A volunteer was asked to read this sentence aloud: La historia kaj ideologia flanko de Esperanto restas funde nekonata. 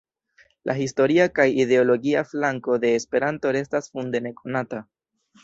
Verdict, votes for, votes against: accepted, 2, 0